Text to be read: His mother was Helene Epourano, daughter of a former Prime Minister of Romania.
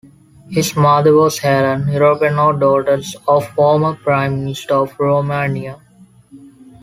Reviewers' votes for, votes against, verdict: 2, 1, accepted